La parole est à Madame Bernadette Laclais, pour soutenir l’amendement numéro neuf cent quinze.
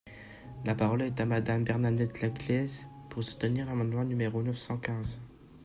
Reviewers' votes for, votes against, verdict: 1, 2, rejected